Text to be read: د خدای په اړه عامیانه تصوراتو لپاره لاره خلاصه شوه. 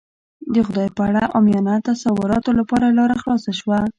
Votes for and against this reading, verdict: 1, 2, rejected